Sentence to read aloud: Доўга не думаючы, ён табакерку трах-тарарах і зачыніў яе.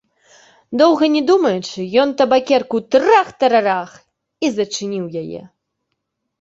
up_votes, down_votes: 3, 0